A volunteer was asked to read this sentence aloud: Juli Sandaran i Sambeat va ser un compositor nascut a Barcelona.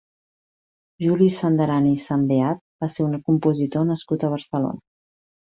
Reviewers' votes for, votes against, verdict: 5, 2, accepted